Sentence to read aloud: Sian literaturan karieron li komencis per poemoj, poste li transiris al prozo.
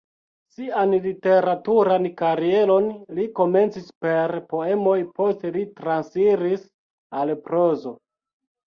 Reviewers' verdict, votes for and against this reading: rejected, 1, 2